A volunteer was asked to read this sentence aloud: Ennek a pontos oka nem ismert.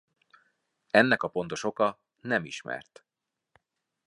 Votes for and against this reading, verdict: 2, 0, accepted